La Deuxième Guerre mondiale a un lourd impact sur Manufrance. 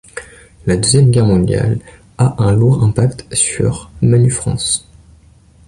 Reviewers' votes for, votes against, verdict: 3, 0, accepted